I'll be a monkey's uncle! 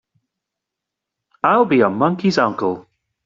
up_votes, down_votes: 3, 0